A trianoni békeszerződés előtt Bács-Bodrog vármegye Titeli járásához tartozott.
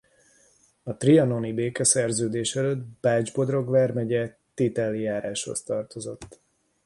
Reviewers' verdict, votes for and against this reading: rejected, 0, 2